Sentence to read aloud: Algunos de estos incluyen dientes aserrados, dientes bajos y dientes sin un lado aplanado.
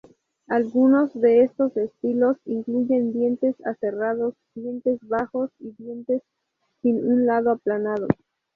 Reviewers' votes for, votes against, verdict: 2, 4, rejected